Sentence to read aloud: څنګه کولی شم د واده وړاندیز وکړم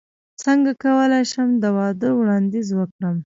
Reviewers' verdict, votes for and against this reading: rejected, 0, 2